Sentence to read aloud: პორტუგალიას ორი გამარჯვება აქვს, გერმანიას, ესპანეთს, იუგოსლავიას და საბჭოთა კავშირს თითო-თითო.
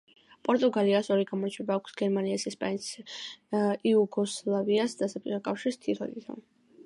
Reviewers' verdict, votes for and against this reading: accepted, 2, 0